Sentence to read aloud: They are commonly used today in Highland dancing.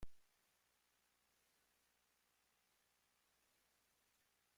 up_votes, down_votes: 0, 2